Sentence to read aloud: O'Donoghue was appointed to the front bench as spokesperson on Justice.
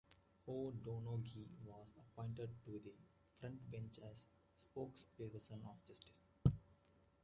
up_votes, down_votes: 2, 0